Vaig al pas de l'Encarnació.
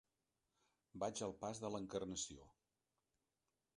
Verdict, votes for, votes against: accepted, 5, 0